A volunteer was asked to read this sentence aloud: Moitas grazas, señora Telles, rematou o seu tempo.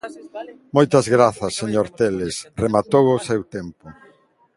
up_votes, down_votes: 0, 3